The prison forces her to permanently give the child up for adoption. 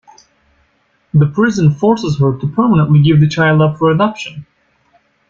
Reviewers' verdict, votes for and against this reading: accepted, 2, 0